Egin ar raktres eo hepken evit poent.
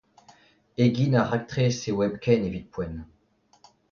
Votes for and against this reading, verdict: 2, 0, accepted